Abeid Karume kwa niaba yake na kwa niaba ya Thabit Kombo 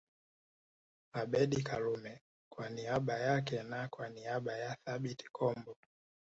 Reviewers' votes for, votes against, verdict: 2, 0, accepted